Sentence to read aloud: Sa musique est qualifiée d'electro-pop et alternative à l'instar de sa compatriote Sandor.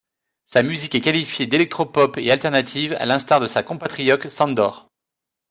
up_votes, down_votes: 2, 0